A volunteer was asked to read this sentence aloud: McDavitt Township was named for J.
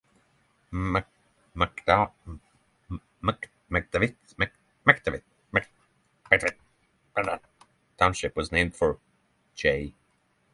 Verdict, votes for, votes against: rejected, 0, 3